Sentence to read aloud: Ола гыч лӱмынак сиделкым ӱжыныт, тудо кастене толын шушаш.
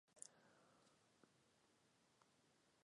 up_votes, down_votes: 0, 2